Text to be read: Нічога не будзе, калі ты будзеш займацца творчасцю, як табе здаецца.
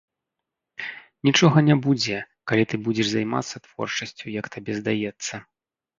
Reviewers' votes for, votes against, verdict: 2, 1, accepted